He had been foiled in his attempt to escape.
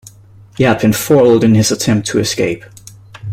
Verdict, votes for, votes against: accepted, 2, 0